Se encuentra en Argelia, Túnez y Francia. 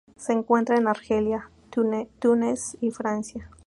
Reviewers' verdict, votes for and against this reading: rejected, 0, 2